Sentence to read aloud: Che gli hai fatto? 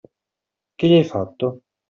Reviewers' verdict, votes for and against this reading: accepted, 2, 0